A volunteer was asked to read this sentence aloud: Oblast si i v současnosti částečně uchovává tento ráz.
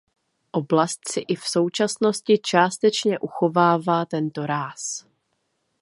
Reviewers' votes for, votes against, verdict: 2, 0, accepted